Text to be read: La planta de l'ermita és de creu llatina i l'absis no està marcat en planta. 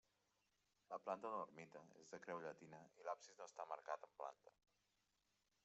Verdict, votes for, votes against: rejected, 1, 2